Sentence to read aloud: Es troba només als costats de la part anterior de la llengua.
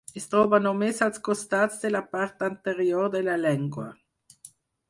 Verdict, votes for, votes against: rejected, 0, 4